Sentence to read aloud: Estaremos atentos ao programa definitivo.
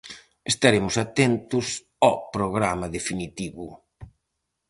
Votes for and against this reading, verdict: 2, 2, rejected